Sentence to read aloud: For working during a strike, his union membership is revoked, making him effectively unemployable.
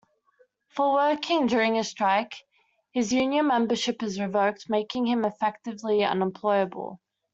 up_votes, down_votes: 2, 0